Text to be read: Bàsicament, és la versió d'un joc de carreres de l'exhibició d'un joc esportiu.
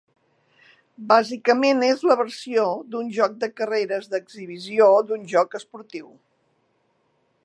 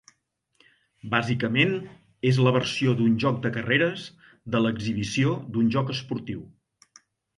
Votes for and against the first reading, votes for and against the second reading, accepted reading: 1, 2, 4, 0, second